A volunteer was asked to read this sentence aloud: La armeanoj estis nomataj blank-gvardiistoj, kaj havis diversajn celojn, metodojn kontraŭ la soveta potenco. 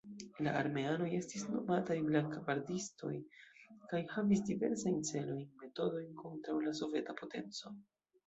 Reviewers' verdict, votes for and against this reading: rejected, 0, 2